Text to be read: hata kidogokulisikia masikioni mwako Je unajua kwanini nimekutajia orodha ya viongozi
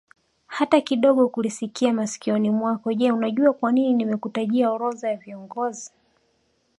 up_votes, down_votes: 1, 2